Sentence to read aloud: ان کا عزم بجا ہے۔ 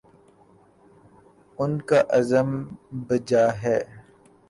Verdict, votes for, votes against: accepted, 2, 1